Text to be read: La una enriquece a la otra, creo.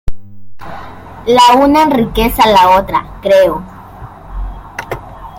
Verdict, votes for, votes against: accepted, 2, 0